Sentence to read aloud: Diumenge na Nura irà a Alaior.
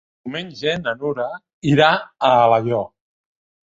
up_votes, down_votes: 2, 0